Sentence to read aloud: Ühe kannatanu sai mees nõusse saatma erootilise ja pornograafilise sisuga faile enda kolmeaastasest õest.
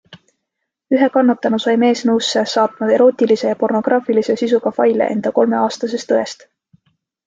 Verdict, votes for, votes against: accepted, 2, 0